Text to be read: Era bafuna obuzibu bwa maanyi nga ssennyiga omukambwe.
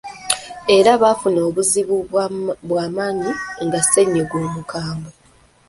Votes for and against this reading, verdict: 2, 1, accepted